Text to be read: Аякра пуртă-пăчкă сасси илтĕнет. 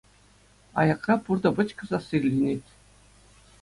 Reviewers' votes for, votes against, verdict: 2, 1, accepted